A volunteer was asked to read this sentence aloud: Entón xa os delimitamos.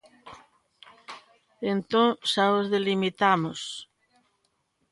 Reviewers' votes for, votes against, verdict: 2, 0, accepted